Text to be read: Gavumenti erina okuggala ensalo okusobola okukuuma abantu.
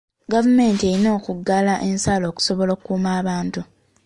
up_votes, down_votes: 2, 1